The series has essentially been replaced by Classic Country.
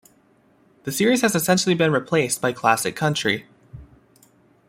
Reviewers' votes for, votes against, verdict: 2, 0, accepted